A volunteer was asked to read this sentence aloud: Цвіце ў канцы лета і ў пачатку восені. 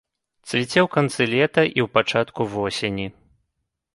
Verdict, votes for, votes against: accepted, 2, 0